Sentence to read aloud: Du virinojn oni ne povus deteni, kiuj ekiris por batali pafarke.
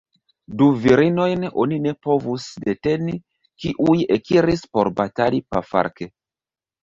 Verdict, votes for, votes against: rejected, 1, 2